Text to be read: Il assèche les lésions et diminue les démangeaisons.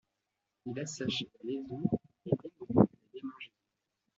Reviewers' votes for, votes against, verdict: 0, 2, rejected